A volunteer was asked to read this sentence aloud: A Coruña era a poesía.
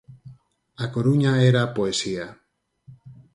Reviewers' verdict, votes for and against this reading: accepted, 4, 0